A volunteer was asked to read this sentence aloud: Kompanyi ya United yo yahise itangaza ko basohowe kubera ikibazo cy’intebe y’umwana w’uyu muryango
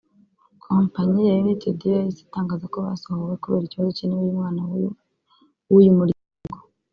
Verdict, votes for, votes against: accepted, 2, 0